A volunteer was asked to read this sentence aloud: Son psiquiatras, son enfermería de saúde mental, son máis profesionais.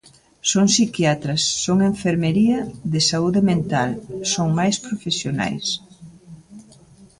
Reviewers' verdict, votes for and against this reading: rejected, 1, 2